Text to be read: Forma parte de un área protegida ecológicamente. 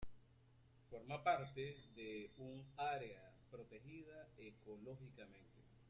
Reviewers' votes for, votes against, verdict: 1, 2, rejected